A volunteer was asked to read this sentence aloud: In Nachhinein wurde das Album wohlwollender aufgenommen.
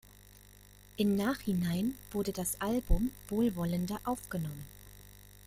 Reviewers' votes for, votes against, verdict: 2, 0, accepted